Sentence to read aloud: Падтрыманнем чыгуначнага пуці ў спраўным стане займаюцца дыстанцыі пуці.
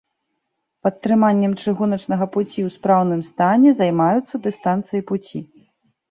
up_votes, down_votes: 2, 0